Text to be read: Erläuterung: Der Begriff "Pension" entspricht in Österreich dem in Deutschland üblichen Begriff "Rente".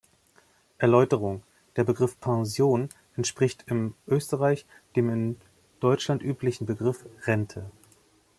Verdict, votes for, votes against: rejected, 1, 2